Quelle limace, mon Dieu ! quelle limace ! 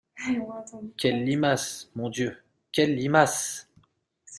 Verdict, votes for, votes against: accepted, 2, 0